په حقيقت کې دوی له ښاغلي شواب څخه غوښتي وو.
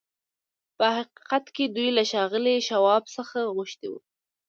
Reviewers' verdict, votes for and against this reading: accepted, 2, 0